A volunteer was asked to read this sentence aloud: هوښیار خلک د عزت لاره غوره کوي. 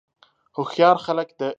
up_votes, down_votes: 0, 2